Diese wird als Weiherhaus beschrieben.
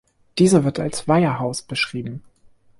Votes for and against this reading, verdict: 2, 0, accepted